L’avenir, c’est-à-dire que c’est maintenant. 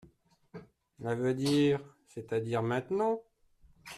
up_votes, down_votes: 0, 2